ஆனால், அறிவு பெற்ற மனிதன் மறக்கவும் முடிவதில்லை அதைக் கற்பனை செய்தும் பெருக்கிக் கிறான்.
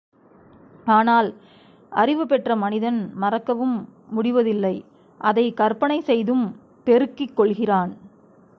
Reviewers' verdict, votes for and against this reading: rejected, 1, 2